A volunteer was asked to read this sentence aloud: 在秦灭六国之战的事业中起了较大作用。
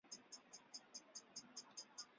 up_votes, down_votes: 0, 4